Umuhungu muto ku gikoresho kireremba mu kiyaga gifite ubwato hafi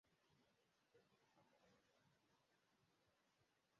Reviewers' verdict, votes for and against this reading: rejected, 0, 2